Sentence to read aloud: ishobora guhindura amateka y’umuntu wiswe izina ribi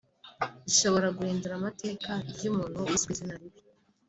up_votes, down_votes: 4, 1